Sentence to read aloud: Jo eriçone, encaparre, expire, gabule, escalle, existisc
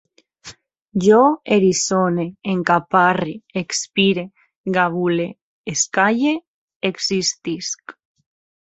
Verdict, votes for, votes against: accepted, 3, 0